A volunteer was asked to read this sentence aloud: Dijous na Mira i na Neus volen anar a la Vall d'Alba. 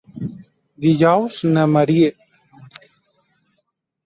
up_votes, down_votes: 0, 2